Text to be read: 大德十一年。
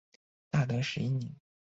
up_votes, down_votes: 2, 1